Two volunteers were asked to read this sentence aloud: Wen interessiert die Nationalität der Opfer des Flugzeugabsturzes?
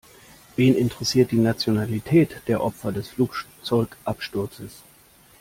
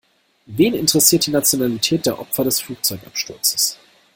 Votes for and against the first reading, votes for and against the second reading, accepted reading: 1, 2, 2, 0, second